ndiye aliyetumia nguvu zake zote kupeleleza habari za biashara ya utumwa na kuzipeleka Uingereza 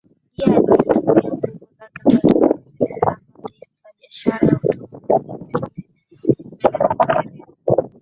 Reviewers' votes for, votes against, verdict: 0, 2, rejected